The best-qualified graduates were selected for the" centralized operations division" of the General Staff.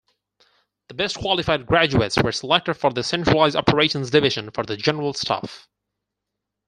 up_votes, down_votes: 0, 4